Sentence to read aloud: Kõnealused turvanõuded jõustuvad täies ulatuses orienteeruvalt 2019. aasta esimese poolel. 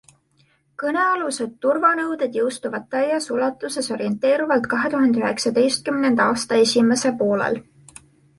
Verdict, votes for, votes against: rejected, 0, 2